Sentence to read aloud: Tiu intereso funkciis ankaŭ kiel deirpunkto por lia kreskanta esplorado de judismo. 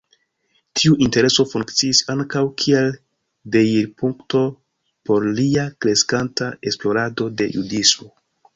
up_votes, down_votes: 2, 1